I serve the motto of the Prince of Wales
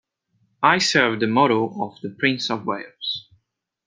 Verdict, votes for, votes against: accepted, 3, 0